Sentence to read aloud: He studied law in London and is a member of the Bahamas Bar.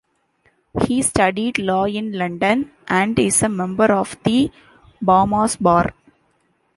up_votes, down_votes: 0, 2